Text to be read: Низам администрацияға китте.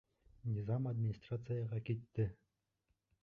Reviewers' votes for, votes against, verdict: 1, 2, rejected